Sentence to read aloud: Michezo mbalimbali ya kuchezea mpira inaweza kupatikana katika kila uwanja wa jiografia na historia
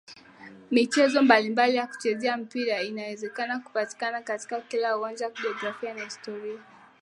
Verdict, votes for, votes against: rejected, 0, 2